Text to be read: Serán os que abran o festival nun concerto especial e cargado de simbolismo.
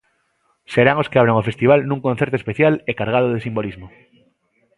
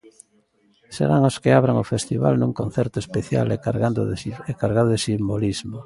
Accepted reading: first